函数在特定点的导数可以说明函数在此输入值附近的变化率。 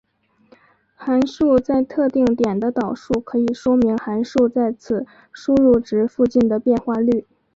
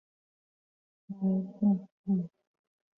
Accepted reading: first